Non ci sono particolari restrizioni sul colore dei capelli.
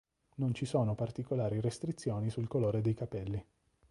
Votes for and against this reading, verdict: 2, 0, accepted